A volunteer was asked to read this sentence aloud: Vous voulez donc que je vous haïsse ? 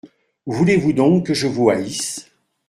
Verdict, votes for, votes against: rejected, 0, 2